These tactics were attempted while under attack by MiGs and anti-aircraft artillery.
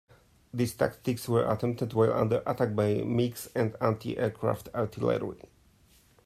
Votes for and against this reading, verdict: 2, 0, accepted